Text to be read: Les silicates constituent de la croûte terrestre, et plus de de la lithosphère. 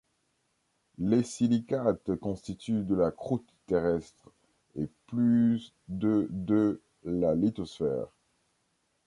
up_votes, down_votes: 0, 2